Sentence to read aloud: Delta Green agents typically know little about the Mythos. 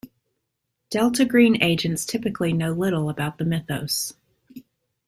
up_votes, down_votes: 2, 0